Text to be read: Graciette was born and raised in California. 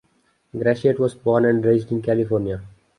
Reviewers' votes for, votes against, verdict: 2, 1, accepted